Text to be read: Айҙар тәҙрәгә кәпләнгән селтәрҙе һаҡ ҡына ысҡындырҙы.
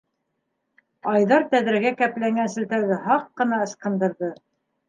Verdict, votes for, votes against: accepted, 2, 0